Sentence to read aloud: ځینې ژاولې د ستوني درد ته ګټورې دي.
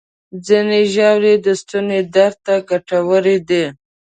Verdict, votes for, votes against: accepted, 5, 0